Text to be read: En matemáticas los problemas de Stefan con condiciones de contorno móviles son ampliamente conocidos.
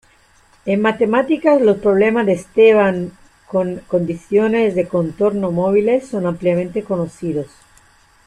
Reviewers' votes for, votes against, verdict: 0, 2, rejected